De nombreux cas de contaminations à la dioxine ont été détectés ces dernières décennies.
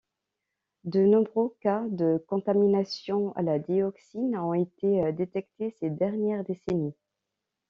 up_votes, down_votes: 2, 0